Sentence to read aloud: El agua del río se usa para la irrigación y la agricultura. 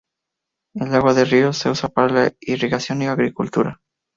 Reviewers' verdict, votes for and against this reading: accepted, 2, 0